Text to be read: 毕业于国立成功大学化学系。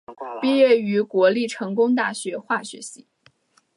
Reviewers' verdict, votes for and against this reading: accepted, 3, 0